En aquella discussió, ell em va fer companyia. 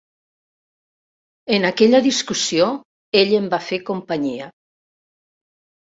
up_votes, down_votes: 3, 0